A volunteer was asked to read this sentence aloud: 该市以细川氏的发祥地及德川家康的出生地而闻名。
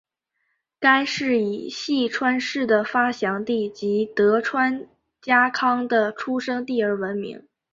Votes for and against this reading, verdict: 4, 0, accepted